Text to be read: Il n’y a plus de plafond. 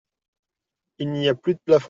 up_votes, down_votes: 1, 2